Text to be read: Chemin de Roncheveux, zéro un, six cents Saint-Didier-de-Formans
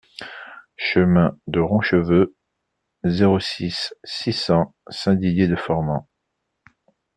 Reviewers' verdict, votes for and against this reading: rejected, 0, 2